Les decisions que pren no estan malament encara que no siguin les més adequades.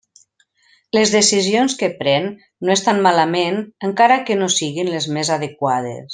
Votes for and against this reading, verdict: 3, 0, accepted